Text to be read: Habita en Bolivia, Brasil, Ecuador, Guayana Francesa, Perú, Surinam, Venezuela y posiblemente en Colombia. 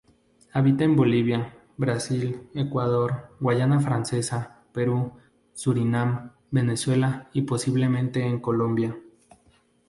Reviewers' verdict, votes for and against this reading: accepted, 2, 0